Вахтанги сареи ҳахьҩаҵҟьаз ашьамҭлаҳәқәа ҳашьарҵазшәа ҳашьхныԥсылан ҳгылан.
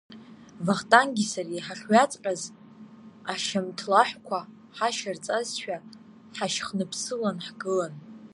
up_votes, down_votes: 0, 2